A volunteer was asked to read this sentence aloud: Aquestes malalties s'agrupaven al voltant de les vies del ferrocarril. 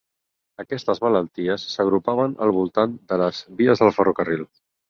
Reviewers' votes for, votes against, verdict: 4, 2, accepted